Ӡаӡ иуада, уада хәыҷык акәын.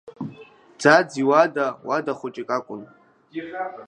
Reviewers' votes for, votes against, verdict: 2, 0, accepted